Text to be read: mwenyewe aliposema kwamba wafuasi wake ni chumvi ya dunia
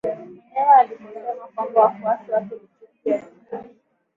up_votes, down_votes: 0, 2